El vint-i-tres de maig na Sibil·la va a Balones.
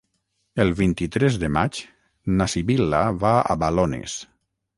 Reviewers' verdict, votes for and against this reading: accepted, 6, 0